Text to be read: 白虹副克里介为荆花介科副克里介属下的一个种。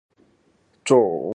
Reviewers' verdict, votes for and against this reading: rejected, 0, 5